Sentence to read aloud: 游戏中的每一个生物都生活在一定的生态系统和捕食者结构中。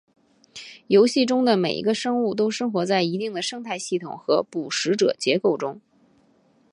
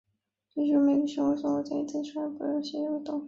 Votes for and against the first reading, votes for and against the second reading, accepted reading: 2, 0, 1, 2, first